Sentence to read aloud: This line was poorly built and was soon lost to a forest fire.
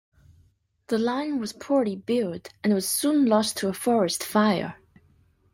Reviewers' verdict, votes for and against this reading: rejected, 1, 2